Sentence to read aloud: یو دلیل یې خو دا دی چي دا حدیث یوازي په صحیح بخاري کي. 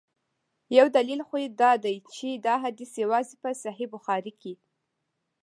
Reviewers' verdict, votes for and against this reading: accepted, 2, 0